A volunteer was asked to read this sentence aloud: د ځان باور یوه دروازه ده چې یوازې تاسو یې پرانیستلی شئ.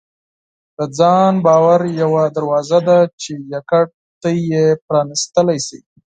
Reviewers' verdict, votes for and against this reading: rejected, 2, 4